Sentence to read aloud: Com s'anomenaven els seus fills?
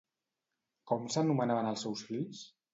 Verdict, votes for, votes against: rejected, 0, 2